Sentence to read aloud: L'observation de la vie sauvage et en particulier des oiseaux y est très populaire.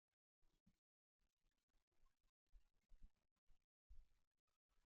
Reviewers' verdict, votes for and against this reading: rejected, 0, 2